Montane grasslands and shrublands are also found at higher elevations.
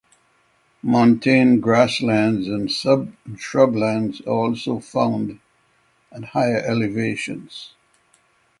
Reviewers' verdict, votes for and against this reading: rejected, 0, 6